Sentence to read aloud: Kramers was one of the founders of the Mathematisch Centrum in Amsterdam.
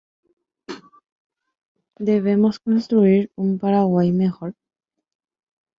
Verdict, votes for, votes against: rejected, 0, 2